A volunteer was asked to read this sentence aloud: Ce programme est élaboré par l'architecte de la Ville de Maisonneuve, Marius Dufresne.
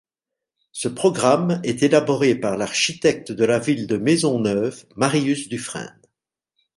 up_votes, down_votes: 2, 0